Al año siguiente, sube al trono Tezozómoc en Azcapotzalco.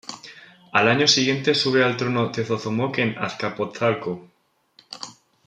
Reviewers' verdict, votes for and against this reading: accepted, 2, 1